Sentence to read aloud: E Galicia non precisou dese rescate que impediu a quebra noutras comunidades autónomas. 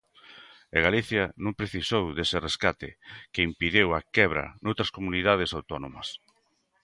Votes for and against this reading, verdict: 0, 2, rejected